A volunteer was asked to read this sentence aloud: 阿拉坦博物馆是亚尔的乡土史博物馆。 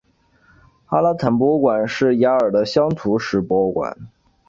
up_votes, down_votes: 7, 0